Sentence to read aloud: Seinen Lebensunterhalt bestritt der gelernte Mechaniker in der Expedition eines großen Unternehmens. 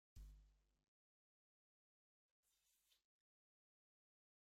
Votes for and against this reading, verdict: 0, 2, rejected